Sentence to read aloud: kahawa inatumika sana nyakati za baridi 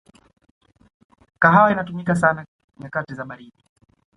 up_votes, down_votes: 2, 0